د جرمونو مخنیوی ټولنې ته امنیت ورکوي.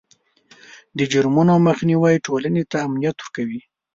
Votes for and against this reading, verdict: 2, 0, accepted